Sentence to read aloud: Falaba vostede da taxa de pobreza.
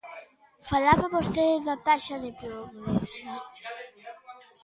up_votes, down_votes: 0, 2